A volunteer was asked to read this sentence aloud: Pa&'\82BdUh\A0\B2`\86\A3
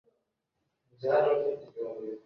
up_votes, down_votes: 0, 2